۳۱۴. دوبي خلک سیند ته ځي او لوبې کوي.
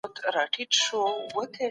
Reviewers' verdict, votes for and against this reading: rejected, 0, 2